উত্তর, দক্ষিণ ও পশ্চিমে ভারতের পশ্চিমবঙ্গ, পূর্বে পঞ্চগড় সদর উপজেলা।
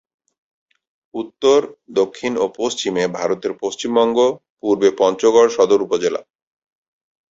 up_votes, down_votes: 3, 0